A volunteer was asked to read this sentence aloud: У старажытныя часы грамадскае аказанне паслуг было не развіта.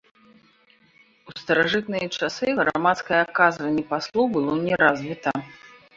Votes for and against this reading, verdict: 0, 2, rejected